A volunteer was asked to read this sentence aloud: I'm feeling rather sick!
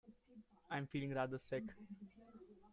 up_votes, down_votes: 1, 2